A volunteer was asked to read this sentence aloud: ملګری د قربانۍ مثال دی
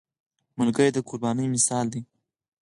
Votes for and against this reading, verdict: 4, 0, accepted